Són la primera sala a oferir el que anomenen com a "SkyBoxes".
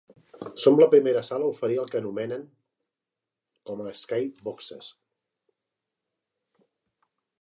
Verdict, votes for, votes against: rejected, 1, 2